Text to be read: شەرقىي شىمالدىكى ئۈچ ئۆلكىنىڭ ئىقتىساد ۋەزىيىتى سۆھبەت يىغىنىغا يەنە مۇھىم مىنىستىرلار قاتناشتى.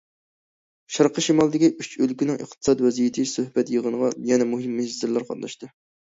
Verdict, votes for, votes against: accepted, 2, 0